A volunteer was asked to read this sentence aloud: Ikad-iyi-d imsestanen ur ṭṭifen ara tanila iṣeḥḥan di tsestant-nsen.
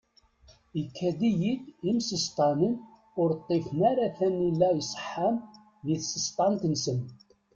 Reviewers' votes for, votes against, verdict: 0, 2, rejected